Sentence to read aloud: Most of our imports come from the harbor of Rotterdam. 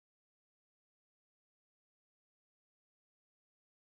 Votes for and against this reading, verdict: 0, 2, rejected